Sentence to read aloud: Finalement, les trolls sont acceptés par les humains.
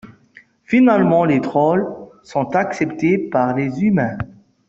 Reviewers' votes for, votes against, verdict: 2, 0, accepted